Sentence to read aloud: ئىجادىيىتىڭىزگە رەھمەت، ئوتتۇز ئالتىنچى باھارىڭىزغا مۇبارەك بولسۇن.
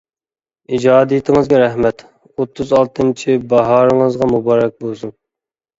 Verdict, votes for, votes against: accepted, 2, 0